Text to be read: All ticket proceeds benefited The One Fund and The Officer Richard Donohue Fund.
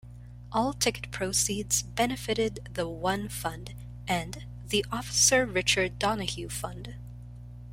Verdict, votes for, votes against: accepted, 2, 0